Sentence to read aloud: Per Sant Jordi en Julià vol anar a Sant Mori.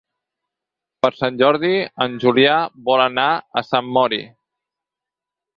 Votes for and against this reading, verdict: 8, 0, accepted